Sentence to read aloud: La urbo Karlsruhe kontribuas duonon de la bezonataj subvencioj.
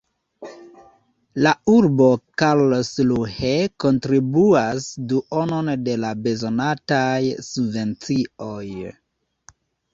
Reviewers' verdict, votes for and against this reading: rejected, 0, 2